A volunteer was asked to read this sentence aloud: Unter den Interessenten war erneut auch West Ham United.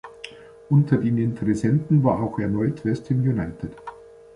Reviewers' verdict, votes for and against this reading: rejected, 1, 2